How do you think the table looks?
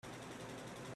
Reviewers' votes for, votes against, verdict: 0, 3, rejected